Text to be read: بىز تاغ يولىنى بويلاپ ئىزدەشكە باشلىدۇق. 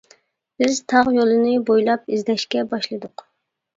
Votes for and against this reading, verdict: 2, 0, accepted